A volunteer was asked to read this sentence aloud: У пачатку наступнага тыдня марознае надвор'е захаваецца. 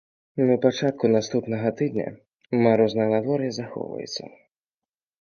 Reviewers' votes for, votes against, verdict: 1, 2, rejected